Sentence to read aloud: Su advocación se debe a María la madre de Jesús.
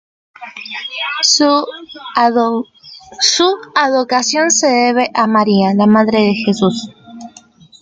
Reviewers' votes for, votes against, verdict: 1, 2, rejected